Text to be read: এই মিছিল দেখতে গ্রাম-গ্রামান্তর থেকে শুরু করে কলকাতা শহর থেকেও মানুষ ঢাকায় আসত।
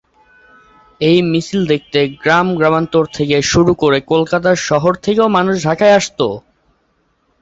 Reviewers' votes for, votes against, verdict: 2, 0, accepted